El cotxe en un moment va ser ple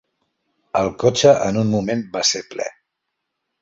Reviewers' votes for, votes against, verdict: 4, 0, accepted